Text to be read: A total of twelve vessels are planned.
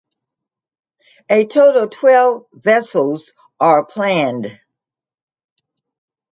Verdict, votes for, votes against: rejected, 0, 2